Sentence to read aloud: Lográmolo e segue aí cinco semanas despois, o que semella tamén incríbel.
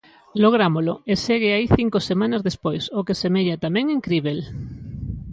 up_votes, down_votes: 2, 0